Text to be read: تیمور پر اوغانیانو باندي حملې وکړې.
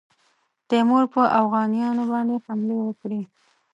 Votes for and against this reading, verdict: 2, 0, accepted